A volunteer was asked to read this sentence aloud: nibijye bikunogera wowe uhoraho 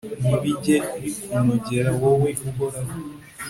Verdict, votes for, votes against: accepted, 2, 0